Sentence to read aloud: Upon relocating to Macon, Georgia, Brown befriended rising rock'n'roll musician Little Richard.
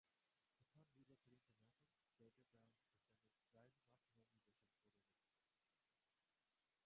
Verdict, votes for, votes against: rejected, 0, 2